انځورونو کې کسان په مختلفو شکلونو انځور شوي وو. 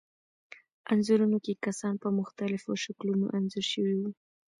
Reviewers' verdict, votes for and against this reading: accepted, 2, 0